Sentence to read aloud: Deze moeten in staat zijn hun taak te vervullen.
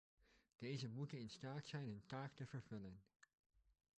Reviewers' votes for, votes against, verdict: 1, 2, rejected